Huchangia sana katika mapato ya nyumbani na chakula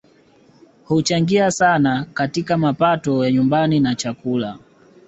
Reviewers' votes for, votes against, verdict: 2, 0, accepted